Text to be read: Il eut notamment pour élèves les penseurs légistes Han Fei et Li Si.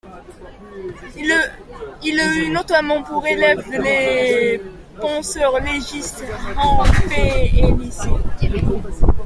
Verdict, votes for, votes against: rejected, 0, 2